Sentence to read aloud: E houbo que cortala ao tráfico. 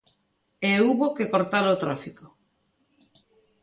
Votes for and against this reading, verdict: 2, 0, accepted